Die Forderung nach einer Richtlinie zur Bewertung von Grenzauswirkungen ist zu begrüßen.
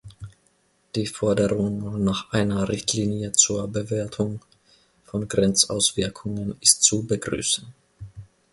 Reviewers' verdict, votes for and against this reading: accepted, 2, 0